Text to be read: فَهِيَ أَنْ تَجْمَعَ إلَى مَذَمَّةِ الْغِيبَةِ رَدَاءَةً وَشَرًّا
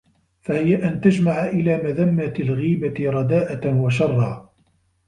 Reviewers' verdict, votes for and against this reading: rejected, 1, 2